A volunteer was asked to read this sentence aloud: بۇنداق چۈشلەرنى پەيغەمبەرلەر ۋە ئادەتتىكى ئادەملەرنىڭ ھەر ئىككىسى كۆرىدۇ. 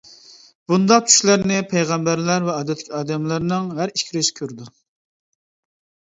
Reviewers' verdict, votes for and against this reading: rejected, 1, 2